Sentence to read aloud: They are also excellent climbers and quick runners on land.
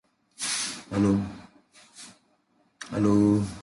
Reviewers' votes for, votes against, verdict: 0, 2, rejected